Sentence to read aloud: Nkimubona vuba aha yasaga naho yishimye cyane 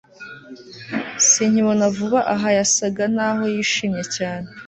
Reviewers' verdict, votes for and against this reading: rejected, 0, 2